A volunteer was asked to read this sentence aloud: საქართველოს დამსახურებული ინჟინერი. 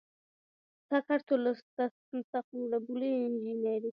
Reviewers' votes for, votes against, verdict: 1, 2, rejected